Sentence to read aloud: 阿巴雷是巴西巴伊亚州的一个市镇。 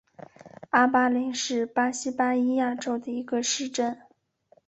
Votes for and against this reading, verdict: 2, 0, accepted